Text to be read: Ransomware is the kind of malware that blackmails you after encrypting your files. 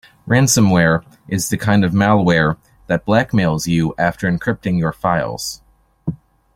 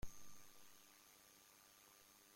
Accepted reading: first